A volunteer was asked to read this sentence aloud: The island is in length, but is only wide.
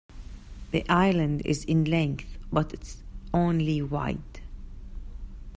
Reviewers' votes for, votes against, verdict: 1, 2, rejected